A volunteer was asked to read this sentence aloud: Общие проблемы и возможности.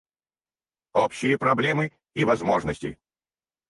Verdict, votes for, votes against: rejected, 2, 4